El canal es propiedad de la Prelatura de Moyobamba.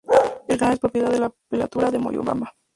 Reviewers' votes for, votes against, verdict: 2, 0, accepted